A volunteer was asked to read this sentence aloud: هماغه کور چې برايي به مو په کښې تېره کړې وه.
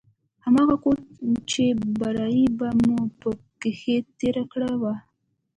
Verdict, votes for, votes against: accepted, 2, 0